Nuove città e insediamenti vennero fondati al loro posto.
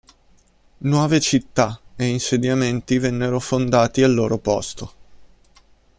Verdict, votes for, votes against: accepted, 2, 0